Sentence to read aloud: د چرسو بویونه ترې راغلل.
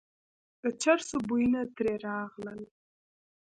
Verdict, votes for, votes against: rejected, 0, 2